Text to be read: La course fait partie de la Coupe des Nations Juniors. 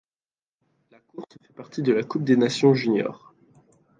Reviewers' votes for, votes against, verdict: 0, 2, rejected